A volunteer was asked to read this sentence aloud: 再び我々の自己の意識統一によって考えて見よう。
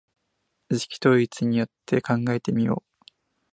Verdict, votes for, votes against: rejected, 0, 2